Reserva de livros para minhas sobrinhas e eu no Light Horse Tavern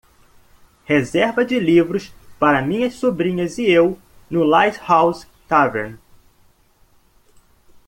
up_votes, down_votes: 0, 2